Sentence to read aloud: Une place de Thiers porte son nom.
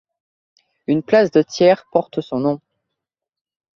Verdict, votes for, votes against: accepted, 2, 0